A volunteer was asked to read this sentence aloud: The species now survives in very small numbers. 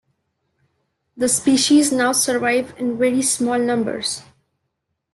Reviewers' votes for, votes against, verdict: 2, 1, accepted